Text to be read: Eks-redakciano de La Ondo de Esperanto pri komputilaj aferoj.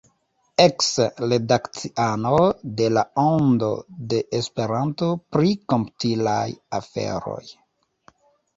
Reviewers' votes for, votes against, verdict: 1, 2, rejected